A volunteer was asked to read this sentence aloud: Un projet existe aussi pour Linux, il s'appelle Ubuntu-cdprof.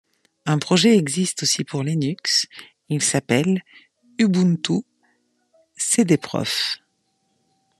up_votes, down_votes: 2, 0